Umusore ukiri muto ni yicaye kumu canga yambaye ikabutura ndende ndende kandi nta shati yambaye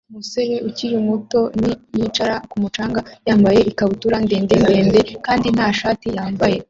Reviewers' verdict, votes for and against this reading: accepted, 2, 0